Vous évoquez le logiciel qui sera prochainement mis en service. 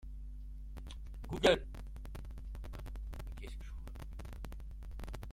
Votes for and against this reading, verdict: 0, 2, rejected